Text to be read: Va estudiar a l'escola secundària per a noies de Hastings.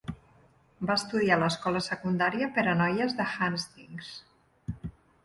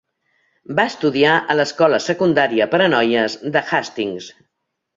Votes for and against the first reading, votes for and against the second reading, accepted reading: 0, 2, 2, 0, second